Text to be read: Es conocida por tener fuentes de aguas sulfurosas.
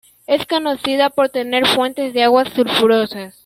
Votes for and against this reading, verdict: 2, 0, accepted